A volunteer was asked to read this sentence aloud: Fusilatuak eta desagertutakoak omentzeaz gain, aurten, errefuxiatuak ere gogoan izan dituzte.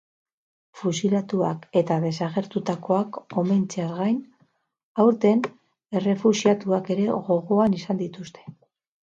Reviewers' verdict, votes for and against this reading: accepted, 6, 0